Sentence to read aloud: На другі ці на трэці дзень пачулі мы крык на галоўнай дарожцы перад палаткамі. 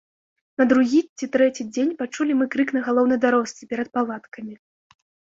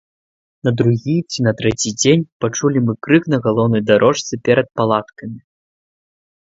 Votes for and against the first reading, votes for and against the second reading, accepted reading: 1, 2, 2, 0, second